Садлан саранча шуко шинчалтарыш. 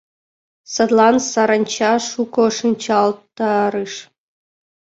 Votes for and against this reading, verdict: 2, 0, accepted